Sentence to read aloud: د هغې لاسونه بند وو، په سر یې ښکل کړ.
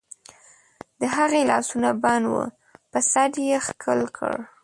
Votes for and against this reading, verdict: 1, 2, rejected